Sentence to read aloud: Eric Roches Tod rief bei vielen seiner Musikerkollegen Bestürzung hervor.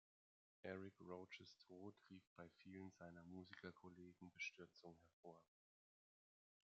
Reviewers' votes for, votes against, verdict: 2, 0, accepted